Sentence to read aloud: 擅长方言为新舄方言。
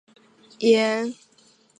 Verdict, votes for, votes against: rejected, 1, 3